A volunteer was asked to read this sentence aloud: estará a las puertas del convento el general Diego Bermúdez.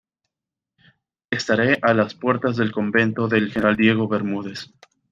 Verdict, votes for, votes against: accepted, 2, 0